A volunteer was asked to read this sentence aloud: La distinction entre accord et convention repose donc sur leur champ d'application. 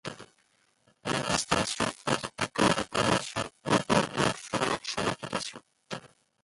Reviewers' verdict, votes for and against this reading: rejected, 0, 2